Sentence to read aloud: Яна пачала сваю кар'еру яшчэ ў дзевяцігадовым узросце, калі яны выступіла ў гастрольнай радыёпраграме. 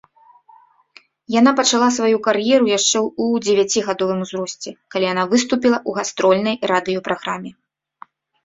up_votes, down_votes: 3, 0